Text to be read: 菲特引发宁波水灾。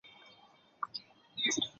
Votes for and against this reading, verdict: 0, 5, rejected